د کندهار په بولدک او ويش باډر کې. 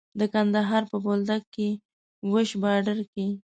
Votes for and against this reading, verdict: 1, 2, rejected